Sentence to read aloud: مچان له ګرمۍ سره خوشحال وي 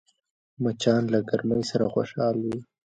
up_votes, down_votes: 0, 2